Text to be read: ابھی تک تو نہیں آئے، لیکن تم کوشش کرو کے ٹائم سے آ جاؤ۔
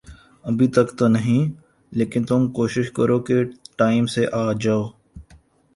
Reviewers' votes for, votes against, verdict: 0, 4, rejected